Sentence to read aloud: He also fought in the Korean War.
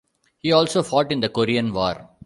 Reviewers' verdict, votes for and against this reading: accepted, 2, 0